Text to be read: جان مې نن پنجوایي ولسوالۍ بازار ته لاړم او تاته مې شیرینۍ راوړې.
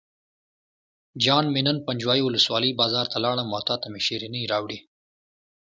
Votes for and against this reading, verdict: 2, 0, accepted